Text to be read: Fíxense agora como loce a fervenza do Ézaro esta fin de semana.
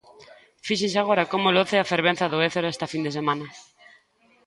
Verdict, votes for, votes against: accepted, 2, 0